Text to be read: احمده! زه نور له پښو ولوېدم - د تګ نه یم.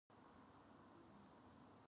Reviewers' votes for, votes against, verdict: 0, 2, rejected